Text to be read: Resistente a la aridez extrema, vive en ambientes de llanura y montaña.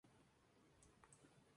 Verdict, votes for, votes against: rejected, 0, 2